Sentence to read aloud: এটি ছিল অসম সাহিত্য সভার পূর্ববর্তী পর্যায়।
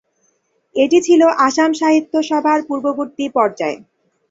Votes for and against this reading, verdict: 3, 9, rejected